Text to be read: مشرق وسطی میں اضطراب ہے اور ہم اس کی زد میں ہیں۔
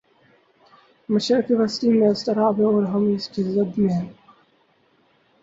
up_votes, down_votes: 0, 2